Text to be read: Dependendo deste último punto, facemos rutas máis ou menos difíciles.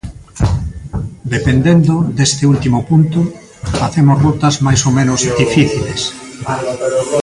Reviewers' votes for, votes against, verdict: 0, 2, rejected